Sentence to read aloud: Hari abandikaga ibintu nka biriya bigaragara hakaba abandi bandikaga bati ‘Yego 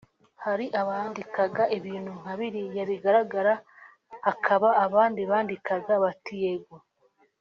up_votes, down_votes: 2, 0